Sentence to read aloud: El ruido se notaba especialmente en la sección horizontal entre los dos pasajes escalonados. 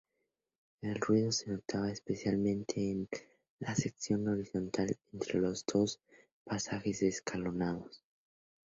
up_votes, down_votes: 2, 0